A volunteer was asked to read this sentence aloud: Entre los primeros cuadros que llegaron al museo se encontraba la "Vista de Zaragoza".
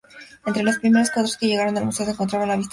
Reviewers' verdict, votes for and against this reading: rejected, 0, 2